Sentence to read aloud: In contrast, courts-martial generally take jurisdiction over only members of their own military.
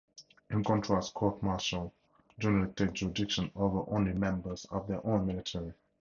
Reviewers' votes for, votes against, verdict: 0, 2, rejected